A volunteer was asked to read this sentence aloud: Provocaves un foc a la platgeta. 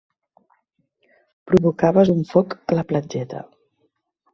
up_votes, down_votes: 1, 2